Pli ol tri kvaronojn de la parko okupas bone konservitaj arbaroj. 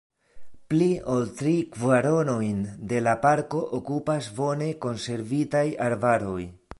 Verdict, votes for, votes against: rejected, 0, 2